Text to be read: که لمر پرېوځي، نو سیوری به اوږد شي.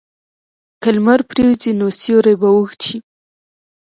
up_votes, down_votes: 2, 0